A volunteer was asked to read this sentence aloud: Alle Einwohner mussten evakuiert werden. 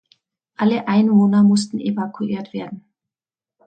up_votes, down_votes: 2, 0